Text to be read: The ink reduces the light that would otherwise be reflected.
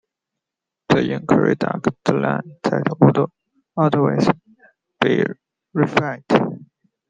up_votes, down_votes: 0, 2